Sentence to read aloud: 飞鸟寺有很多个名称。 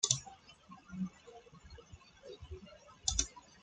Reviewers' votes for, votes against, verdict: 0, 2, rejected